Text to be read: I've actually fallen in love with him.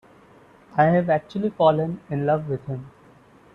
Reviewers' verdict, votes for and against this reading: rejected, 1, 2